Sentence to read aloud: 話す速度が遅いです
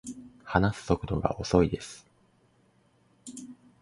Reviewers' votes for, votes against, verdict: 2, 0, accepted